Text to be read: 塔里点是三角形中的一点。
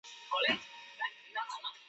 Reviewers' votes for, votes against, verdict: 0, 3, rejected